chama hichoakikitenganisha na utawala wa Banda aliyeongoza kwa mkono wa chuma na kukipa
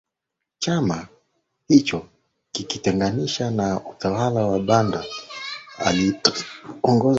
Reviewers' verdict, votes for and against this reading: rejected, 0, 2